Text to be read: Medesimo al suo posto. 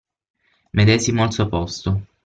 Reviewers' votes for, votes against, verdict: 6, 0, accepted